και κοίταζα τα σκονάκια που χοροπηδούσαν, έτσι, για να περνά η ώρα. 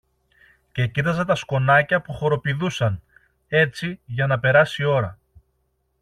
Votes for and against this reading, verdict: 1, 2, rejected